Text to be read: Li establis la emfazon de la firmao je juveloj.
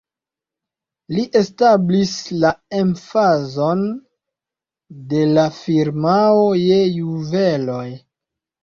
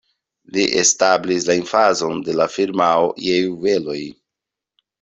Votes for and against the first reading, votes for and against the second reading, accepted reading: 0, 2, 2, 0, second